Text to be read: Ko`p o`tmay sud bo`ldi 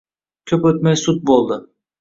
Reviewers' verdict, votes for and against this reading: accepted, 2, 0